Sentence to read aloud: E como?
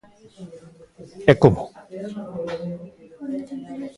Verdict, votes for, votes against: rejected, 1, 2